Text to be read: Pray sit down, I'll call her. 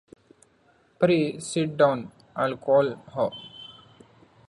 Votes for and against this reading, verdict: 2, 0, accepted